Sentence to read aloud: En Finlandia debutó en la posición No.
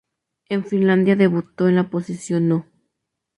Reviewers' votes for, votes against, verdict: 2, 0, accepted